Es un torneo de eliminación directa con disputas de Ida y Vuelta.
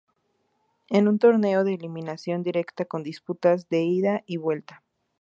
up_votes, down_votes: 0, 2